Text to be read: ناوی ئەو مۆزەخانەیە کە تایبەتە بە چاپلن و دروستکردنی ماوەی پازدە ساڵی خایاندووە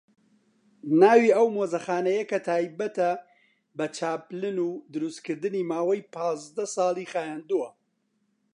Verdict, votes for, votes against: accepted, 2, 0